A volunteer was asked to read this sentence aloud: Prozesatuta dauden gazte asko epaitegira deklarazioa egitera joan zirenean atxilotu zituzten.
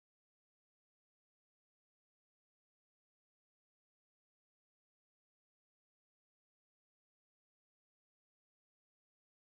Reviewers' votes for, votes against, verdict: 0, 4, rejected